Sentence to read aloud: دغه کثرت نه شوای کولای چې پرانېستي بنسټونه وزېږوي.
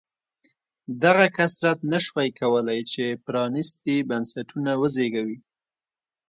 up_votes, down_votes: 2, 0